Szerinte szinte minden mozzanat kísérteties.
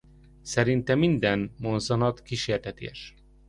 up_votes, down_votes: 0, 2